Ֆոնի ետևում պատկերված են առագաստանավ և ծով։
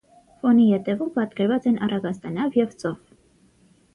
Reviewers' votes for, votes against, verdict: 6, 3, accepted